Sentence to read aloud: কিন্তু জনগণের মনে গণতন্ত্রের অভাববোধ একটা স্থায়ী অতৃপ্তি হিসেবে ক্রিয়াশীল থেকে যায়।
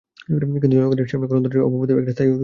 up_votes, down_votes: 0, 2